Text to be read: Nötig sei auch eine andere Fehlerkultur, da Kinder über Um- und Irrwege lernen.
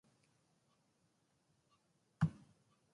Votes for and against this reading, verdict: 0, 2, rejected